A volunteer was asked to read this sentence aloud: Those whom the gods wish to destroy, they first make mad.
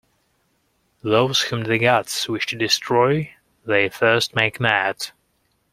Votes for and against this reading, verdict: 2, 0, accepted